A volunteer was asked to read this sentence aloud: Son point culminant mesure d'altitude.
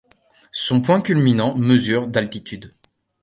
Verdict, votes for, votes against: accepted, 2, 0